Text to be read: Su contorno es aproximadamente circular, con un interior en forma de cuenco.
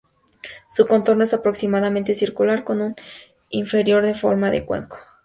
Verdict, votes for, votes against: rejected, 0, 2